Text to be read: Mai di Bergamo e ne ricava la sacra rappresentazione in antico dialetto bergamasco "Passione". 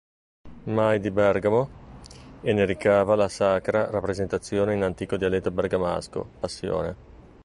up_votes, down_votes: 2, 0